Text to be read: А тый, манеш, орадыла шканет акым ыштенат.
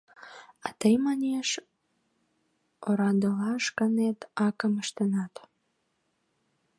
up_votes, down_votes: 1, 2